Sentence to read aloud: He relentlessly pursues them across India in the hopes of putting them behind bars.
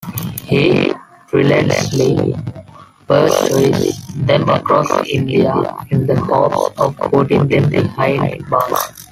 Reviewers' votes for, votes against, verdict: 0, 2, rejected